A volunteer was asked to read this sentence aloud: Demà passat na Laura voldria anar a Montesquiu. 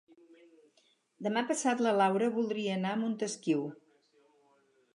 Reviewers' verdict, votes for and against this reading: rejected, 0, 2